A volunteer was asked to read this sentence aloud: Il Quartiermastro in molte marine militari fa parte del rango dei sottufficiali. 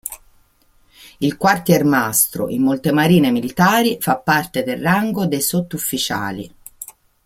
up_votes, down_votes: 2, 0